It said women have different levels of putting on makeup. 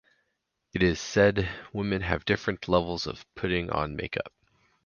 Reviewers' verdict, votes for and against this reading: rejected, 0, 4